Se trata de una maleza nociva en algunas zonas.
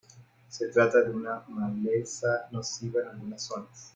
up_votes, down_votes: 1, 2